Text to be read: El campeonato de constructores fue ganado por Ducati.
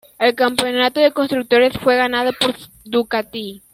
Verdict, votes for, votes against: accepted, 2, 1